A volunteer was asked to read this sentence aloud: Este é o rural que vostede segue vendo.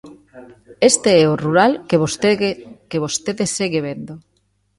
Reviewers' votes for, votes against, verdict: 0, 2, rejected